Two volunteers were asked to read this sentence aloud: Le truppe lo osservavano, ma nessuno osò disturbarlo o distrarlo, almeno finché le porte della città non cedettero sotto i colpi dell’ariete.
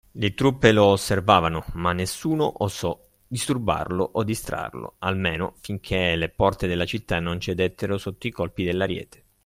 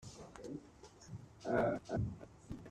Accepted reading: first